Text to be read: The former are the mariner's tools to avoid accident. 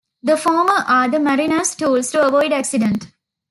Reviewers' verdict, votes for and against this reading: accepted, 2, 0